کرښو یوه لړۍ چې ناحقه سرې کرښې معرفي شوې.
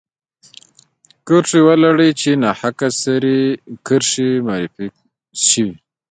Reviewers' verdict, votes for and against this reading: rejected, 1, 2